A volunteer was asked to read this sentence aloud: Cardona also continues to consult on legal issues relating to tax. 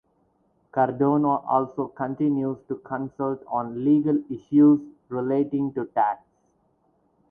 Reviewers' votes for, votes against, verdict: 4, 0, accepted